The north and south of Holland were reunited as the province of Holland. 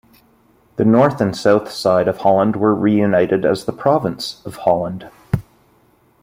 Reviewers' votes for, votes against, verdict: 1, 2, rejected